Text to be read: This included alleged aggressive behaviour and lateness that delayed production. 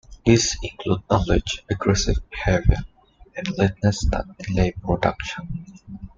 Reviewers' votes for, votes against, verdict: 0, 2, rejected